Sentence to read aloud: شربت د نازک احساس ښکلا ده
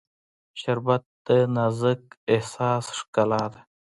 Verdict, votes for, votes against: accepted, 2, 1